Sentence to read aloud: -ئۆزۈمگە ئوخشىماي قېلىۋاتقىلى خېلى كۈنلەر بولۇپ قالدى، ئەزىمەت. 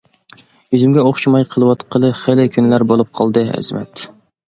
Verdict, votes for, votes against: accepted, 2, 0